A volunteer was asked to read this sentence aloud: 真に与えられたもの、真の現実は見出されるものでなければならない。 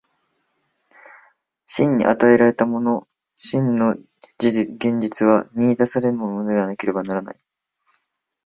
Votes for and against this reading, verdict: 3, 0, accepted